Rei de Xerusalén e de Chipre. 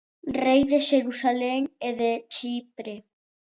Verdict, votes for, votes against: accepted, 2, 0